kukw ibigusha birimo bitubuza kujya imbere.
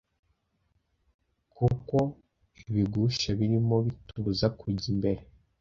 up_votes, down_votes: 2, 0